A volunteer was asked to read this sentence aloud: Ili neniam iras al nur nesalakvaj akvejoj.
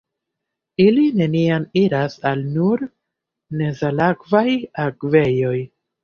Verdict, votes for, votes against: accepted, 2, 0